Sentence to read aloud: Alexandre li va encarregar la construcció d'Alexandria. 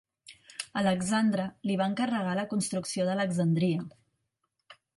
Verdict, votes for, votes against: accepted, 2, 0